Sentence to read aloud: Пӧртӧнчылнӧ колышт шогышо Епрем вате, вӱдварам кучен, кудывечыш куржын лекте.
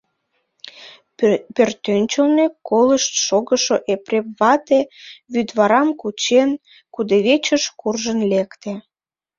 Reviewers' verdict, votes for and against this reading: rejected, 1, 3